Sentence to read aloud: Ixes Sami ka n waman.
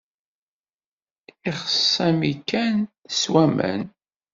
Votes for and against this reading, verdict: 0, 2, rejected